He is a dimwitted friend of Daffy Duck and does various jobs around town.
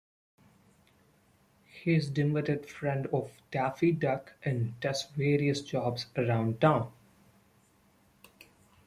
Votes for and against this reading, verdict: 0, 2, rejected